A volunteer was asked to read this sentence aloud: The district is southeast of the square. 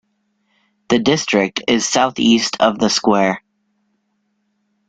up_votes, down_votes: 2, 0